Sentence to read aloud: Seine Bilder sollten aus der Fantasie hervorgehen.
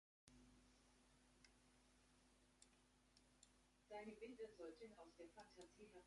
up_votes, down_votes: 0, 3